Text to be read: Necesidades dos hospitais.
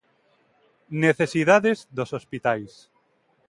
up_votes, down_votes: 2, 0